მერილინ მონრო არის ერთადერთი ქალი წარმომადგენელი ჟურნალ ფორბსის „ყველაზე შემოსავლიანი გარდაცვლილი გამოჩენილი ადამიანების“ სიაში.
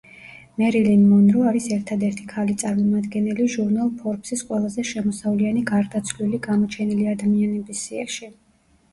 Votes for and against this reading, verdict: 1, 2, rejected